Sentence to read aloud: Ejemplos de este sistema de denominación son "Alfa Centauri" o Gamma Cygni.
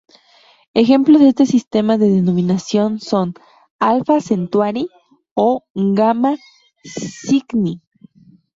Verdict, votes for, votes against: rejected, 0, 2